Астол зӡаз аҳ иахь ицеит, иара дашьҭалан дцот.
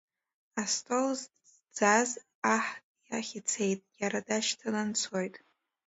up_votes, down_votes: 1, 2